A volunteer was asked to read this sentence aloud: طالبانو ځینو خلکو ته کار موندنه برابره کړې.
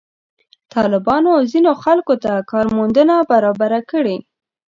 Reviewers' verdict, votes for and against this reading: accepted, 2, 0